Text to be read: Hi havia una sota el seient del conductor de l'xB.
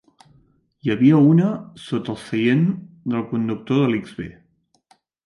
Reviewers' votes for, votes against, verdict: 1, 2, rejected